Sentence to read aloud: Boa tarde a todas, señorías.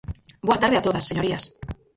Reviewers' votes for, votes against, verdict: 0, 4, rejected